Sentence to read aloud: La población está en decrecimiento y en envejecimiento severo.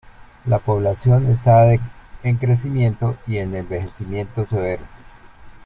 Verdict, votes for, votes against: rejected, 0, 2